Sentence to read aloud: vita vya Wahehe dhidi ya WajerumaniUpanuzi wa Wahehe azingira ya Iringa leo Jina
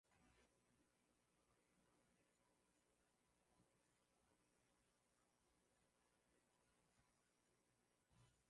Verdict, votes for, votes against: rejected, 0, 2